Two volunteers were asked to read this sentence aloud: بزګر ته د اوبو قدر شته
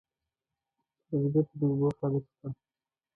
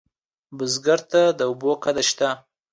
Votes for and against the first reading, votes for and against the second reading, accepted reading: 0, 2, 2, 0, second